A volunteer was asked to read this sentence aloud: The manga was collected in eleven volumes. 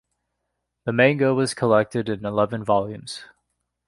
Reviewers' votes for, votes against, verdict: 0, 2, rejected